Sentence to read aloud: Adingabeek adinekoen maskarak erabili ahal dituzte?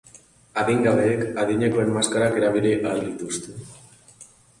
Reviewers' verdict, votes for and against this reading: rejected, 0, 2